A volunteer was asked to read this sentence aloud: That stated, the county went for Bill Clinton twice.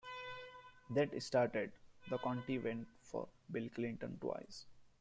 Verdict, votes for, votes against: rejected, 1, 2